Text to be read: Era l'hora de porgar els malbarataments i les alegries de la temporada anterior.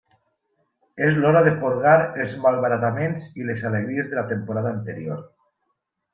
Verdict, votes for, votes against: rejected, 1, 2